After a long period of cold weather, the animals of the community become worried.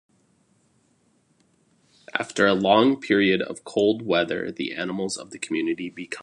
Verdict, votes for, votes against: rejected, 0, 2